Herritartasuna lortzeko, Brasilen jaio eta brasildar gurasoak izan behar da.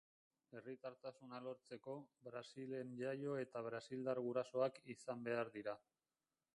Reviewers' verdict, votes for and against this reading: rejected, 2, 4